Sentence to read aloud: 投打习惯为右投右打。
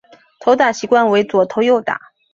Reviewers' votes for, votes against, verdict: 9, 4, accepted